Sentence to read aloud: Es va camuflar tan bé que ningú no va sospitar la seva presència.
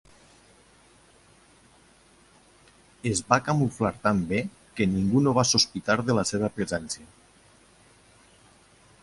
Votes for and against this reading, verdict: 1, 2, rejected